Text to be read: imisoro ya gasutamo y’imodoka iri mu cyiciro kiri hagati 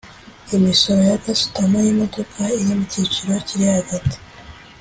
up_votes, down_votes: 2, 0